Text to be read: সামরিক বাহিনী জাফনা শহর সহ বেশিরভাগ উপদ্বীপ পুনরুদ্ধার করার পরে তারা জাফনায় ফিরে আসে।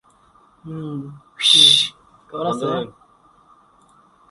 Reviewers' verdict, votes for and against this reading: rejected, 0, 7